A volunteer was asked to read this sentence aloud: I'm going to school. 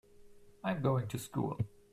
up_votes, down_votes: 3, 0